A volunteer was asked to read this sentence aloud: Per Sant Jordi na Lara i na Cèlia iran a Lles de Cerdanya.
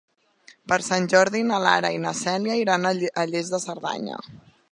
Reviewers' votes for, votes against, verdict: 1, 2, rejected